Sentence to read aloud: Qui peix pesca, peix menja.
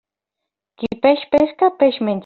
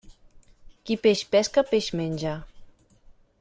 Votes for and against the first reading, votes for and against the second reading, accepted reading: 0, 2, 3, 0, second